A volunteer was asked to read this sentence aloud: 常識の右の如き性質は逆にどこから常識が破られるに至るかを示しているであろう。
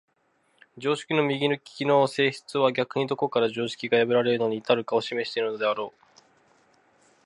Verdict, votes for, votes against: rejected, 0, 2